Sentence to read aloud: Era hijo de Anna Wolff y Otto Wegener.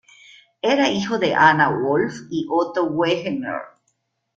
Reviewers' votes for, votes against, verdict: 0, 2, rejected